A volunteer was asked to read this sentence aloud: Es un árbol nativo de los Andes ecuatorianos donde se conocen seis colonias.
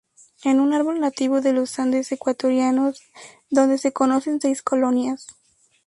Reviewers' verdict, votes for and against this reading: accepted, 2, 0